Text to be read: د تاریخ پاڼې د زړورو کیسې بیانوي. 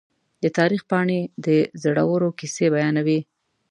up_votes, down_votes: 2, 0